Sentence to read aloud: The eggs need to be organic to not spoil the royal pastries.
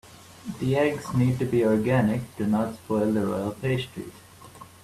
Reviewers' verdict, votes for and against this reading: rejected, 0, 2